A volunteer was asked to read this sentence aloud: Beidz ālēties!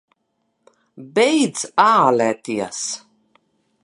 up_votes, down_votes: 2, 0